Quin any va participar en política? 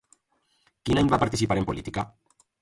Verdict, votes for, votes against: accepted, 2, 0